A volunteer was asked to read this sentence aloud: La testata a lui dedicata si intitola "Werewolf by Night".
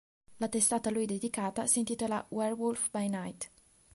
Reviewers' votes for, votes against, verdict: 2, 0, accepted